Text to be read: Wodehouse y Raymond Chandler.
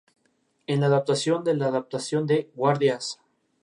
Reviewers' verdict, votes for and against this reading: rejected, 0, 4